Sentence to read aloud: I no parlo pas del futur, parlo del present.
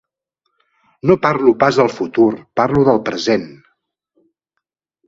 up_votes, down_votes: 0, 2